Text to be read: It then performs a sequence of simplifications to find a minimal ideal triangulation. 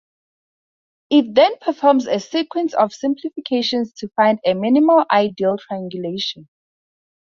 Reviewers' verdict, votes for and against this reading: accepted, 4, 0